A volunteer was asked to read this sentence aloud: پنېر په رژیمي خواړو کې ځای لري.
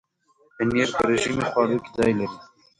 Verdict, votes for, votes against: rejected, 1, 2